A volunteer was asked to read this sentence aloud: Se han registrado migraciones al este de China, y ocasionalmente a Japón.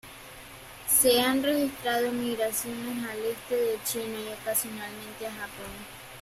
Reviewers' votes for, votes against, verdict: 2, 1, accepted